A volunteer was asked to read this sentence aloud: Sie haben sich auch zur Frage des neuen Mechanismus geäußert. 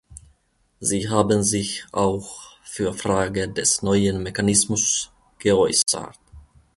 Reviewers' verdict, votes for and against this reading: rejected, 1, 2